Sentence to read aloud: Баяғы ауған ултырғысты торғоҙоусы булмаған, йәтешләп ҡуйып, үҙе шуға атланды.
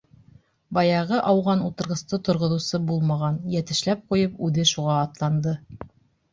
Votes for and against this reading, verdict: 2, 0, accepted